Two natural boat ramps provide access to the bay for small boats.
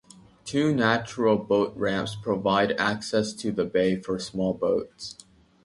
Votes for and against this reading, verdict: 2, 0, accepted